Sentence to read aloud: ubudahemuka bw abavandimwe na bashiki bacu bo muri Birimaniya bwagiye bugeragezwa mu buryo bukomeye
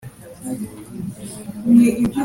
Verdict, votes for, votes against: rejected, 0, 2